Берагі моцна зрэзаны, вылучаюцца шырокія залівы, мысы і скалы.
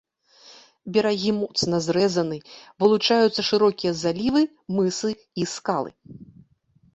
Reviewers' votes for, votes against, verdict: 2, 1, accepted